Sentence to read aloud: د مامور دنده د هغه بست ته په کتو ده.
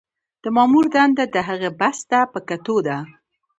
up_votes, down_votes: 2, 0